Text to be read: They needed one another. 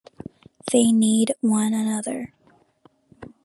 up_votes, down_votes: 2, 3